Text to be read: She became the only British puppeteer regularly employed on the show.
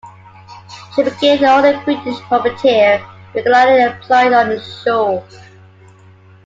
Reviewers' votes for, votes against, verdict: 2, 1, accepted